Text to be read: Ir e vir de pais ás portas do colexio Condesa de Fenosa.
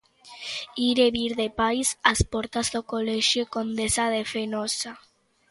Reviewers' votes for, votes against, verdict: 2, 0, accepted